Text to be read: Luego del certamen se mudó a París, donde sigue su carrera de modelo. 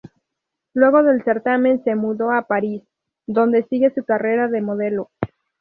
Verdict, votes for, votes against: rejected, 0, 2